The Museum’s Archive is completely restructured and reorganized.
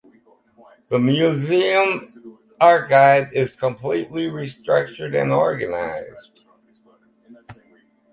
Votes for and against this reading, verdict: 4, 2, accepted